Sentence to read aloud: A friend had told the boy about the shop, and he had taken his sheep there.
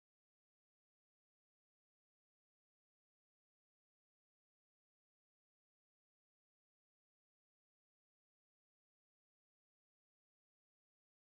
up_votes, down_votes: 1, 3